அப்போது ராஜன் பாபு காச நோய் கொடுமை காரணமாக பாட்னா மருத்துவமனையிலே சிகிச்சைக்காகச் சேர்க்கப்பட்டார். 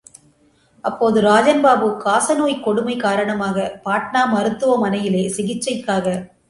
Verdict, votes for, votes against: rejected, 0, 2